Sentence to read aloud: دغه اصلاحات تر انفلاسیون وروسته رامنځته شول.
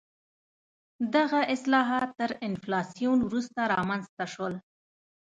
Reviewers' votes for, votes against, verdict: 1, 2, rejected